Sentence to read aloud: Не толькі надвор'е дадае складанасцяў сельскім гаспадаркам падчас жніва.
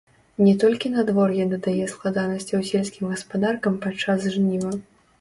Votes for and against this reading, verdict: 1, 2, rejected